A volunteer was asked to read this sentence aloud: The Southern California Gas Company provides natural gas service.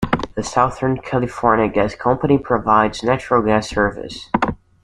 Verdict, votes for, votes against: accepted, 2, 0